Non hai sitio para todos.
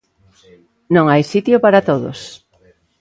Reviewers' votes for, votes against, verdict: 2, 0, accepted